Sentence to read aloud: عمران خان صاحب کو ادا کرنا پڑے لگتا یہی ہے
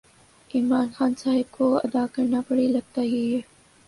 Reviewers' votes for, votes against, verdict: 9, 1, accepted